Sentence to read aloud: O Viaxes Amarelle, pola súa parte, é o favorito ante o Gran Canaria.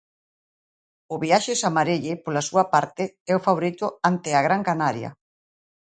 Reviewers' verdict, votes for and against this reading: rejected, 0, 2